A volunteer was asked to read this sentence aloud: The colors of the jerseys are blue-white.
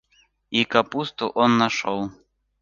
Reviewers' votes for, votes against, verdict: 0, 2, rejected